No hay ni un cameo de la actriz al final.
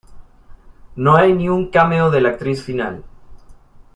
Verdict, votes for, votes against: rejected, 0, 2